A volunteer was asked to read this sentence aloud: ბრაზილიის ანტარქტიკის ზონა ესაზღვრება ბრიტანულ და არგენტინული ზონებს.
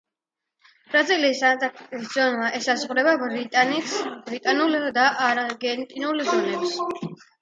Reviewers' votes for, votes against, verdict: 0, 2, rejected